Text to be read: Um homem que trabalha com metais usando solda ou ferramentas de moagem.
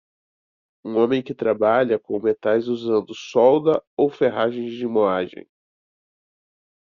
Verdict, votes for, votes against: rejected, 0, 2